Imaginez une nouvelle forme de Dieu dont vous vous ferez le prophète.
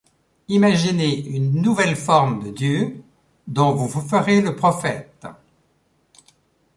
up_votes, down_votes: 3, 0